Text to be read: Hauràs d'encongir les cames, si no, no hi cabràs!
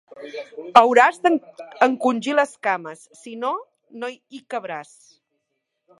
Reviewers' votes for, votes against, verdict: 0, 2, rejected